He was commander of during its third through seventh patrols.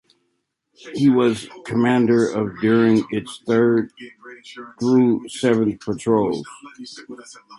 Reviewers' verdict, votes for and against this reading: rejected, 1, 2